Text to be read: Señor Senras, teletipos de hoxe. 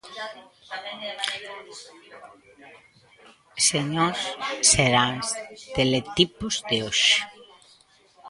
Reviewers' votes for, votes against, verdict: 0, 2, rejected